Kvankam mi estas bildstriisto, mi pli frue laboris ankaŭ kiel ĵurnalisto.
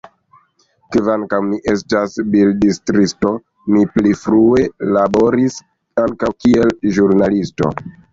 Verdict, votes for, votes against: accepted, 2, 1